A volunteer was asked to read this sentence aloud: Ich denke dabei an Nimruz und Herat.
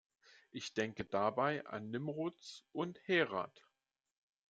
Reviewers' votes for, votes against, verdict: 2, 0, accepted